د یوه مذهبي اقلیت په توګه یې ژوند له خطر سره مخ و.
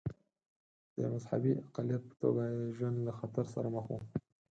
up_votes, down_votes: 2, 4